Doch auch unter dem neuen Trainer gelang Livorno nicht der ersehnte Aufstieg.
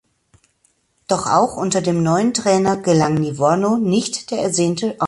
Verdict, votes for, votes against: rejected, 0, 2